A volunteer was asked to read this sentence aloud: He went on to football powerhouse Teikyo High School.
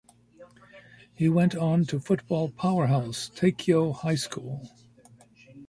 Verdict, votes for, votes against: rejected, 1, 2